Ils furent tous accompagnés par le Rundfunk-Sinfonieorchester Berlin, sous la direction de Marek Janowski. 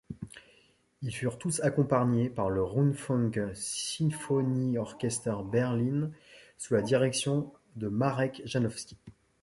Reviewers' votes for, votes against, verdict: 1, 2, rejected